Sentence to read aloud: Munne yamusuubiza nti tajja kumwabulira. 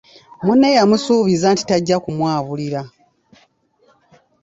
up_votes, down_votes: 2, 0